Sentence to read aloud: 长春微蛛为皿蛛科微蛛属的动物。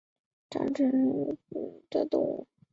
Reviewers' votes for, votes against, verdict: 1, 2, rejected